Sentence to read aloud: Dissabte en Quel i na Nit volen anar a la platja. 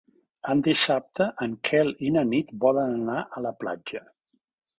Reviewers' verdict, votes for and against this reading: rejected, 1, 3